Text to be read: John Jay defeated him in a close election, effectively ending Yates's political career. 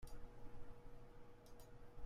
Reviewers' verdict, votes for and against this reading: rejected, 0, 2